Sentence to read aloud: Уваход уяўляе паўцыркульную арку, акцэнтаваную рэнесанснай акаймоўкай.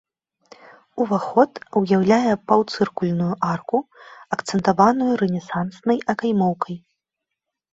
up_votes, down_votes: 2, 0